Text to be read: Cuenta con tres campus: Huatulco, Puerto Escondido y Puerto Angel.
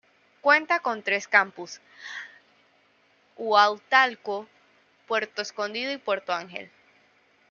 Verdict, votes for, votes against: rejected, 1, 2